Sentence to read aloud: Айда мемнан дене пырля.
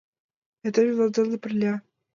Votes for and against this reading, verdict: 3, 2, accepted